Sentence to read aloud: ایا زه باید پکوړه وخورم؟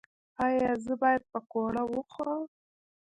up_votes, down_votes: 1, 2